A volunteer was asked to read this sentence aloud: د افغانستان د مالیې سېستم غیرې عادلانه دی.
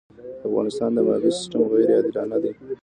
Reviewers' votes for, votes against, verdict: 2, 0, accepted